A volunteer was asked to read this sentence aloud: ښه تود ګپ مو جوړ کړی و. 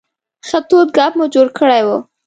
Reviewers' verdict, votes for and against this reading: accepted, 2, 0